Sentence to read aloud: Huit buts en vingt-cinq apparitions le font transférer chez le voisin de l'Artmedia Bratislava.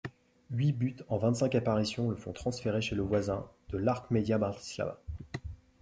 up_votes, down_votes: 3, 0